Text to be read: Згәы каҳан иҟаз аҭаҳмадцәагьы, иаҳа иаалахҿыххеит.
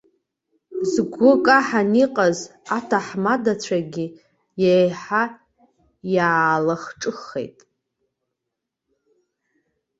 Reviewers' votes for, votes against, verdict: 0, 2, rejected